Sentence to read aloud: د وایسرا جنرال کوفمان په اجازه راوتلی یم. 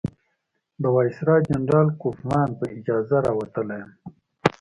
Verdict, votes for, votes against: accepted, 2, 0